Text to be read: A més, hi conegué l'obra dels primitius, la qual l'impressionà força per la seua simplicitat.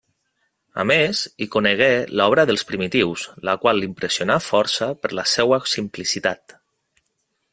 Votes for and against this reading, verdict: 2, 0, accepted